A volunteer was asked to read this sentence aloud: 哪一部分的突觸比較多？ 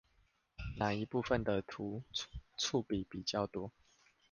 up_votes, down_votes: 0, 2